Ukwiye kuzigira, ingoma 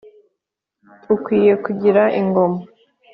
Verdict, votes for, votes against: rejected, 0, 2